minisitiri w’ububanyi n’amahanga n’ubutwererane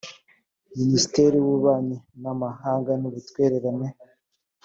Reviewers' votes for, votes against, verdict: 2, 1, accepted